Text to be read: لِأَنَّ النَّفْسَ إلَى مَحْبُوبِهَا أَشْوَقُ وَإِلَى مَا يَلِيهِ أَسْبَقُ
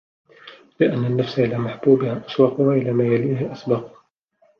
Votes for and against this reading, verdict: 2, 0, accepted